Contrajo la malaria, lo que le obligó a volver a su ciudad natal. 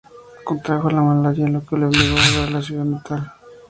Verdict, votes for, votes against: accepted, 2, 0